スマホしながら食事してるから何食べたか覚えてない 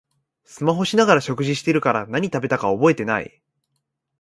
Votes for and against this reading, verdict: 2, 0, accepted